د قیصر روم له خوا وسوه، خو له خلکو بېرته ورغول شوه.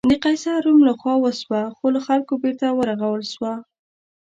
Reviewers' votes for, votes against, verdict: 2, 0, accepted